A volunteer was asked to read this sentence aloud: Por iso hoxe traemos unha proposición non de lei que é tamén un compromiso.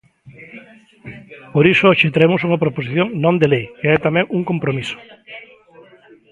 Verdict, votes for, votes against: rejected, 1, 2